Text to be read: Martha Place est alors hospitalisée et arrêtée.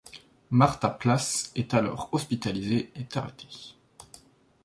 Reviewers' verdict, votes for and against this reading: rejected, 1, 2